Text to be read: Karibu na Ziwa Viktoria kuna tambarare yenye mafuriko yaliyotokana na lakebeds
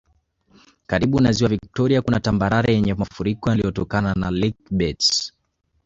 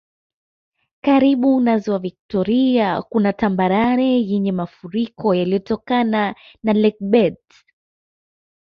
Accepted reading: second